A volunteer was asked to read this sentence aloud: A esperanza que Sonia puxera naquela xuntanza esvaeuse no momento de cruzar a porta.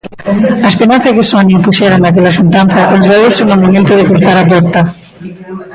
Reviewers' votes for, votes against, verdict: 1, 2, rejected